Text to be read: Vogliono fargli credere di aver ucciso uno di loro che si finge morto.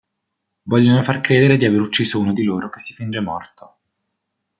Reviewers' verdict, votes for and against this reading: rejected, 1, 2